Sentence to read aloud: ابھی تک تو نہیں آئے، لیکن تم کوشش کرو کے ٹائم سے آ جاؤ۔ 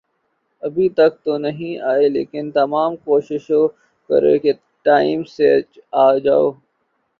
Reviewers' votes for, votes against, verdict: 0, 2, rejected